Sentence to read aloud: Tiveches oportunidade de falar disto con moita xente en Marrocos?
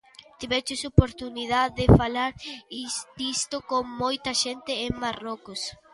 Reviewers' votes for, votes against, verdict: 0, 2, rejected